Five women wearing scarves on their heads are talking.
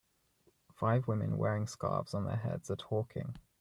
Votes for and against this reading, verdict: 2, 0, accepted